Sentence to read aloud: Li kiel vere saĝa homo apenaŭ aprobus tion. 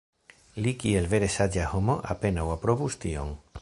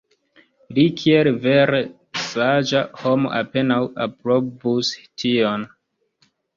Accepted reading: first